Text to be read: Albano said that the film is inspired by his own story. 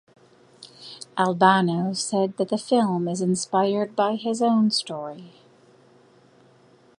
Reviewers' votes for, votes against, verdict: 2, 0, accepted